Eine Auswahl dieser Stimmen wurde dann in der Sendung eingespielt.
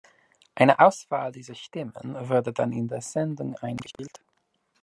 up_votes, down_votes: 2, 0